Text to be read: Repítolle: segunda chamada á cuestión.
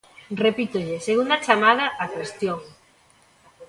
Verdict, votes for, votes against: accepted, 2, 0